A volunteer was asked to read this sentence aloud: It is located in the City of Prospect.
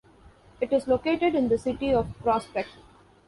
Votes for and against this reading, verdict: 2, 0, accepted